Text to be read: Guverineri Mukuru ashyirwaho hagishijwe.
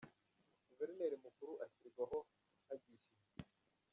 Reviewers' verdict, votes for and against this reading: accepted, 2, 1